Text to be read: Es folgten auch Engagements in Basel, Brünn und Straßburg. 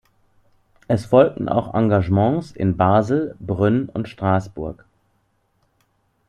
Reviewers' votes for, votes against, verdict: 2, 0, accepted